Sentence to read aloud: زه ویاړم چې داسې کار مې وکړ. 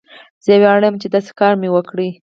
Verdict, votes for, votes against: rejected, 2, 4